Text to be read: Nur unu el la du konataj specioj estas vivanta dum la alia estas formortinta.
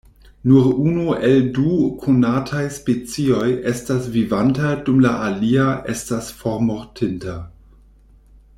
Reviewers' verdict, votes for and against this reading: rejected, 1, 2